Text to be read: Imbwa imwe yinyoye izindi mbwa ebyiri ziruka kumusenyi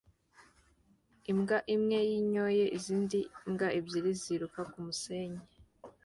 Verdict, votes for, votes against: accepted, 2, 0